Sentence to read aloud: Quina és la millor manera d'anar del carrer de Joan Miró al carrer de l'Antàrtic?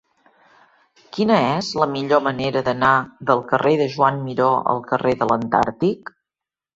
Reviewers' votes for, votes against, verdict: 3, 0, accepted